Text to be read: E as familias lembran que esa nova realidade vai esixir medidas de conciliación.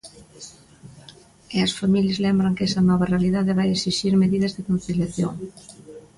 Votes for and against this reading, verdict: 2, 0, accepted